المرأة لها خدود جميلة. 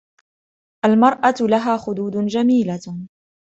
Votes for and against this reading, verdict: 2, 0, accepted